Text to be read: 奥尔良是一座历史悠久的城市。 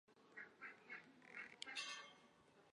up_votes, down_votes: 0, 2